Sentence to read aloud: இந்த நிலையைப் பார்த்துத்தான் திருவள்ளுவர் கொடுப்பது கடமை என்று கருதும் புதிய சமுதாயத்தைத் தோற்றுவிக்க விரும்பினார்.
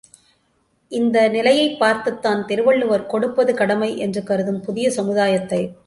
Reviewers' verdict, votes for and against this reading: rejected, 0, 2